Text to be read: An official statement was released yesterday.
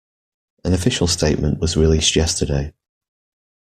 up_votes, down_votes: 2, 0